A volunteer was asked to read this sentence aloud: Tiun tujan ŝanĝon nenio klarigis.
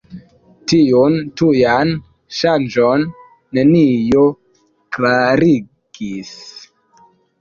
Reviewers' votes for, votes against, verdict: 3, 0, accepted